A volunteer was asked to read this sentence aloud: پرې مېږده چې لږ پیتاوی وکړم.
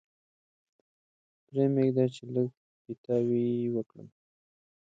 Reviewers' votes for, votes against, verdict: 0, 2, rejected